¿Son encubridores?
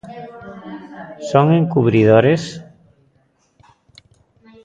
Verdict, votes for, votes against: rejected, 0, 2